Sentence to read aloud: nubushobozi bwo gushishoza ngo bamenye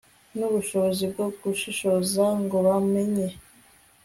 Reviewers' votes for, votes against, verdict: 2, 0, accepted